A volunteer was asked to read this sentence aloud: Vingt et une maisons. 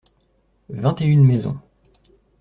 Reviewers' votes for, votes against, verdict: 2, 0, accepted